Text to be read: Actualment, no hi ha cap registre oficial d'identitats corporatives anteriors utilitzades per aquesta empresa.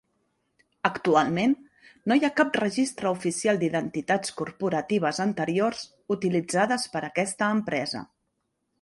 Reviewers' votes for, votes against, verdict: 3, 0, accepted